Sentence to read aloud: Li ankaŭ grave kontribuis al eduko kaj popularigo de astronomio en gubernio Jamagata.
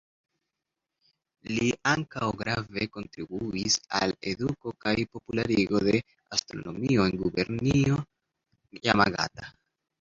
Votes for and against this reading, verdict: 0, 2, rejected